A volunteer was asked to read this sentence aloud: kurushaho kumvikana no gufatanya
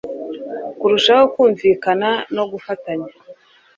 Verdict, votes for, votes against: accepted, 2, 0